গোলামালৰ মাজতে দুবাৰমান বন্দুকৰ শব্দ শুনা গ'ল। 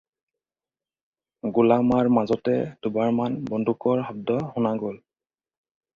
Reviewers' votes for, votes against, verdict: 0, 4, rejected